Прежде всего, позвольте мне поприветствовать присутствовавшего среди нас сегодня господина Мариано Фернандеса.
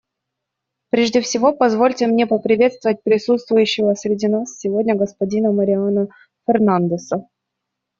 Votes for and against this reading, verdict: 1, 2, rejected